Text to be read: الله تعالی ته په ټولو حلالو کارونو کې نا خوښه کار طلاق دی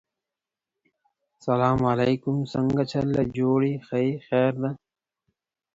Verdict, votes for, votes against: rejected, 0, 4